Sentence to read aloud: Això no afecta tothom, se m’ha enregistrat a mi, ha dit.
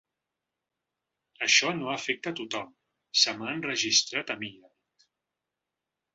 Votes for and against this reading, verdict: 0, 3, rejected